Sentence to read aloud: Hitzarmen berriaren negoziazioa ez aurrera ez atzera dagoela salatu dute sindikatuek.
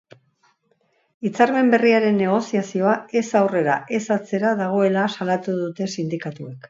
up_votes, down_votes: 2, 0